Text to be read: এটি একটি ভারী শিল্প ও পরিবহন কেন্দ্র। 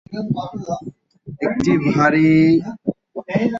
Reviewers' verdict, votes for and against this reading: rejected, 0, 13